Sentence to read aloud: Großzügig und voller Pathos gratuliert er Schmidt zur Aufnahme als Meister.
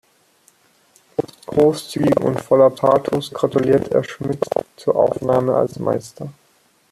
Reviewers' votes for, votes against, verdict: 1, 2, rejected